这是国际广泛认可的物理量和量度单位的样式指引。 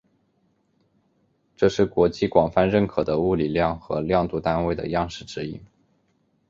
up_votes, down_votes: 3, 0